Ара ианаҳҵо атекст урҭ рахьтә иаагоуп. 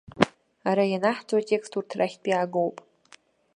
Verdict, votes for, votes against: accepted, 2, 0